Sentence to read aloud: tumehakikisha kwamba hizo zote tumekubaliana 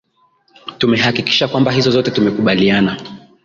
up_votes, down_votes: 1, 2